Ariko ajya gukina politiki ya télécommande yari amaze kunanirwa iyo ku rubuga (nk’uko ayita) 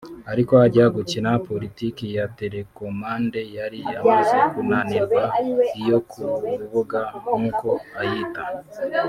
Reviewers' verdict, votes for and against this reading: rejected, 0, 2